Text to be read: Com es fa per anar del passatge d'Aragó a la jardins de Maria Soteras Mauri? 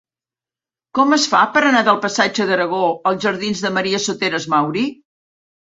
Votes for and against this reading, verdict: 1, 2, rejected